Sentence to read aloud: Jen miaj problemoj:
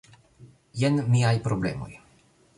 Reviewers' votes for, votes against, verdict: 1, 2, rejected